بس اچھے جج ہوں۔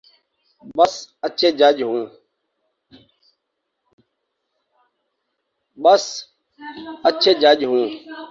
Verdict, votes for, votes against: rejected, 0, 2